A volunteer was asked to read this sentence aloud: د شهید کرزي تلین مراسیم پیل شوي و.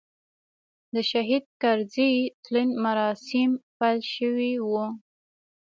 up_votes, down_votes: 2, 0